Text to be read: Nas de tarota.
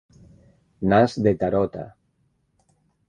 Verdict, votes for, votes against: accepted, 2, 0